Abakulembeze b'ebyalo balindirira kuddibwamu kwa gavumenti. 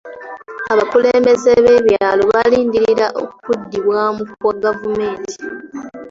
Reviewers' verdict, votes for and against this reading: accepted, 2, 0